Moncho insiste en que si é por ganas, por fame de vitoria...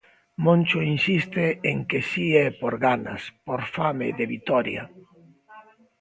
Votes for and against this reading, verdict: 3, 0, accepted